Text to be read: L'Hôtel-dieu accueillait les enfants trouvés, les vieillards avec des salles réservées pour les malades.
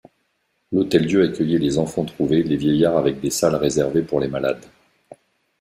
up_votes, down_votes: 0, 2